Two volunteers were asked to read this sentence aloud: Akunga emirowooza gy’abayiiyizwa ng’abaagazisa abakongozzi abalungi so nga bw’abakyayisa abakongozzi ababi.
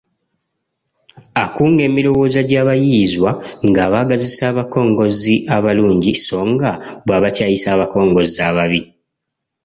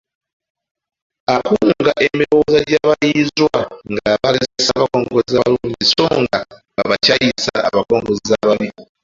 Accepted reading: first